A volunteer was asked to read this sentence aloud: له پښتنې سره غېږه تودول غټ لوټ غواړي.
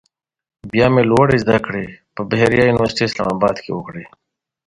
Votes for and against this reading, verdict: 1, 2, rejected